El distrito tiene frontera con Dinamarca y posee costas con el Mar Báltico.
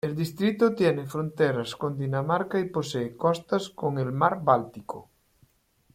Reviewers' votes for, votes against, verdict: 0, 2, rejected